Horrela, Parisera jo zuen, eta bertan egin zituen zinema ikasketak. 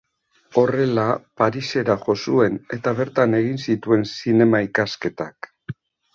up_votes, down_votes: 2, 0